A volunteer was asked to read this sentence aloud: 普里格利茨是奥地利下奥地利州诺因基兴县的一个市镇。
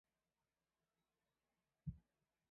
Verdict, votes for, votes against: rejected, 0, 3